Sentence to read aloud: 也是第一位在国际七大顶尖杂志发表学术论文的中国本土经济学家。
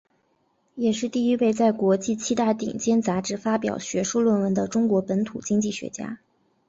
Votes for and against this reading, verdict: 3, 2, accepted